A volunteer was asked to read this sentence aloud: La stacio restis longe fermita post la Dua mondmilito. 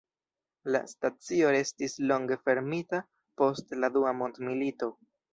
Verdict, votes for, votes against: rejected, 0, 2